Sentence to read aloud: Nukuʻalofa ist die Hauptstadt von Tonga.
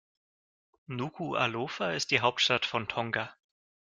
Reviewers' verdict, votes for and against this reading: accepted, 2, 0